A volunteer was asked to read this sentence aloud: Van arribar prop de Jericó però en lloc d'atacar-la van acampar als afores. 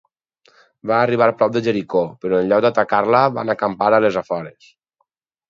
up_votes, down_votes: 0, 4